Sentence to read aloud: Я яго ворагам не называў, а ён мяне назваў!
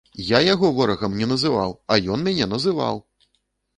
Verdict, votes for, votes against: rejected, 0, 2